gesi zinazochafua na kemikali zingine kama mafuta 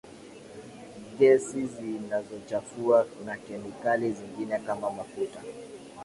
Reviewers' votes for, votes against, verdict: 6, 5, accepted